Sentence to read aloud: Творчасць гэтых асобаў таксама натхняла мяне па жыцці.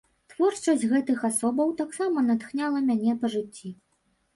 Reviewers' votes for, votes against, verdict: 2, 0, accepted